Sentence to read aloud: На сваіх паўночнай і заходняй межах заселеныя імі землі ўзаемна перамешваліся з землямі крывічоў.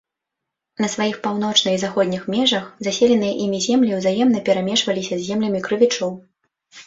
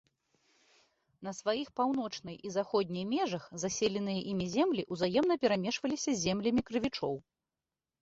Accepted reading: second